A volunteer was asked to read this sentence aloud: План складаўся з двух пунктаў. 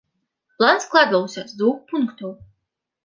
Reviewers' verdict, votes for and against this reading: rejected, 1, 2